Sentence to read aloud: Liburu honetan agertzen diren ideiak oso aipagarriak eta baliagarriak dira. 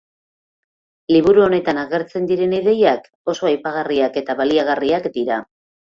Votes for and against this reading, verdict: 3, 0, accepted